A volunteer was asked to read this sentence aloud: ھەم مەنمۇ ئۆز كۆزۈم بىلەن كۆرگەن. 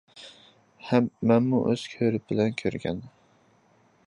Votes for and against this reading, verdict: 0, 2, rejected